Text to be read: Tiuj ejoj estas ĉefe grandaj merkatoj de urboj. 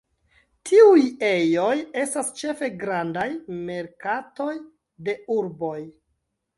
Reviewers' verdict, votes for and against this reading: accepted, 2, 0